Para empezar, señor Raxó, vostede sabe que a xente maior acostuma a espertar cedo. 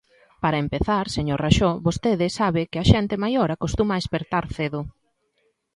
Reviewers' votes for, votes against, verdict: 2, 0, accepted